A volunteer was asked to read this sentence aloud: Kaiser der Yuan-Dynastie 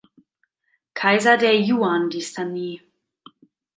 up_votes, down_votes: 0, 2